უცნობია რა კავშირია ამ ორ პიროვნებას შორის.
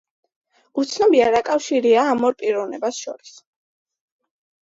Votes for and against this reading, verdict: 2, 0, accepted